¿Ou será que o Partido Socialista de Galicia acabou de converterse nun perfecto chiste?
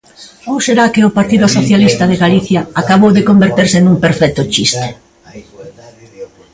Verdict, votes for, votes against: rejected, 1, 2